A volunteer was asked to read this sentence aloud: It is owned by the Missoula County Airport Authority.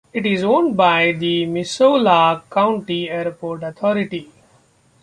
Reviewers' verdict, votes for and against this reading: accepted, 2, 0